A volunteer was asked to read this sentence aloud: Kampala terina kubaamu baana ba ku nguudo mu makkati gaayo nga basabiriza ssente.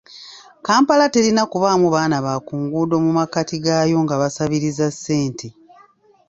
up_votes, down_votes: 1, 2